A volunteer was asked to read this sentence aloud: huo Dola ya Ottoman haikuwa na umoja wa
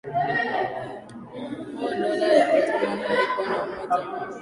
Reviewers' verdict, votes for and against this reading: rejected, 1, 2